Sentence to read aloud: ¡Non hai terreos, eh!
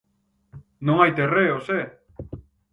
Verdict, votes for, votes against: accepted, 4, 0